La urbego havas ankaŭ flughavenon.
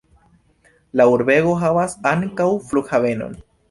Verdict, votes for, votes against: accepted, 2, 0